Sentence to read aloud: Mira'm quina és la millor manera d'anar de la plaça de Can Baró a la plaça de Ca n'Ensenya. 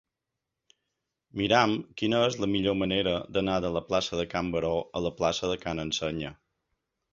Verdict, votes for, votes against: accepted, 3, 0